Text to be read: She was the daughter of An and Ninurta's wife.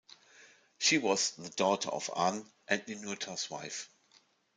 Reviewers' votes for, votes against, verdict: 1, 2, rejected